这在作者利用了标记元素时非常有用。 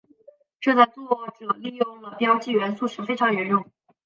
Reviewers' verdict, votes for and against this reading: rejected, 0, 2